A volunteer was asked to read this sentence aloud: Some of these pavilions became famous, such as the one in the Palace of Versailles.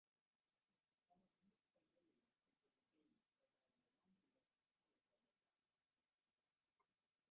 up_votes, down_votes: 0, 3